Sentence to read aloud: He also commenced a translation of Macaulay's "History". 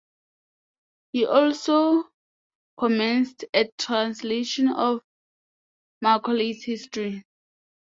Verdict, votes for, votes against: accepted, 2, 0